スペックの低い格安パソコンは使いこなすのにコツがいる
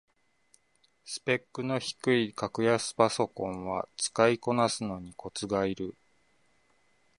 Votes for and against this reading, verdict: 2, 1, accepted